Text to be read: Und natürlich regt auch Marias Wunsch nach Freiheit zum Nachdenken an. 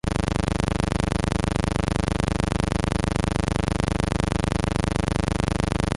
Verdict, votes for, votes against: rejected, 0, 2